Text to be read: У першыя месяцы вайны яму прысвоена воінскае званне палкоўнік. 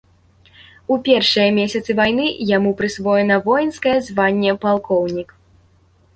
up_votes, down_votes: 2, 0